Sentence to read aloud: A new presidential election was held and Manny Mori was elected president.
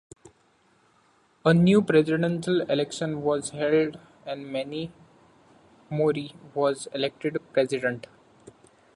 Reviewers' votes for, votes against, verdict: 2, 0, accepted